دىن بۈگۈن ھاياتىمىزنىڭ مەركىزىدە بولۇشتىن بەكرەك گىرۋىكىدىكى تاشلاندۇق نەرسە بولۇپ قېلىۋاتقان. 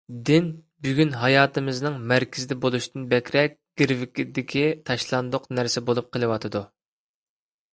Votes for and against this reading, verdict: 1, 2, rejected